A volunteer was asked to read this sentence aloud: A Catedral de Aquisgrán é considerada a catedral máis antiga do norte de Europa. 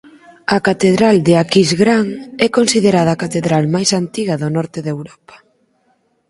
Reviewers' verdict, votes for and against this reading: accepted, 4, 0